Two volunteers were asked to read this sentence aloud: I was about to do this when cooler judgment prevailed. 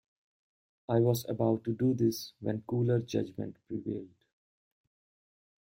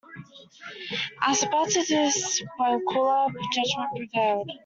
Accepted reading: first